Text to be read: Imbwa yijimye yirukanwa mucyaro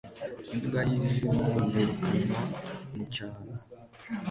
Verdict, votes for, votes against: accepted, 2, 1